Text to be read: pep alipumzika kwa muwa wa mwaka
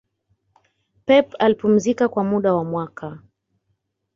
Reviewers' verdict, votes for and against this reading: rejected, 0, 2